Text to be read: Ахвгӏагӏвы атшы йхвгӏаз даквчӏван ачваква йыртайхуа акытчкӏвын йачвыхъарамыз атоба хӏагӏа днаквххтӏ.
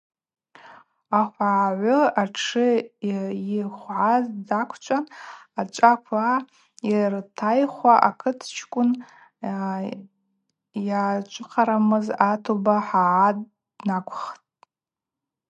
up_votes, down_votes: 0, 2